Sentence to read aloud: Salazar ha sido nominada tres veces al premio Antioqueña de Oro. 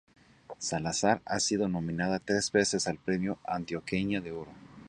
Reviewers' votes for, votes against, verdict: 2, 0, accepted